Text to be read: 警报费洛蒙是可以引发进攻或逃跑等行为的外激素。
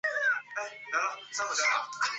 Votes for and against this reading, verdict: 0, 2, rejected